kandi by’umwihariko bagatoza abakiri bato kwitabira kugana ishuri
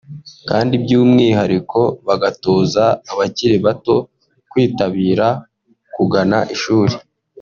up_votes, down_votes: 2, 0